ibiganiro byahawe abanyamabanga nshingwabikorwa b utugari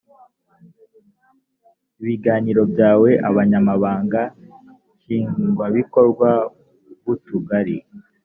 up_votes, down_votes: 0, 2